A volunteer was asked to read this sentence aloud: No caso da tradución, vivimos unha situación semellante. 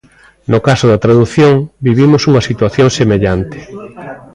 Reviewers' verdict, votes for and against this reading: accepted, 2, 1